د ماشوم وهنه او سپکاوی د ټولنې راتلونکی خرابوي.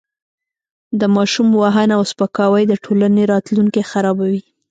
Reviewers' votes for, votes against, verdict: 2, 0, accepted